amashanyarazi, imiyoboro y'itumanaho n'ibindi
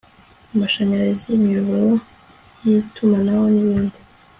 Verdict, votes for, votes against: accepted, 2, 0